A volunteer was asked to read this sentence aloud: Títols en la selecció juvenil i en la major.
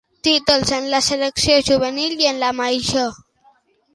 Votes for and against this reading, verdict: 2, 0, accepted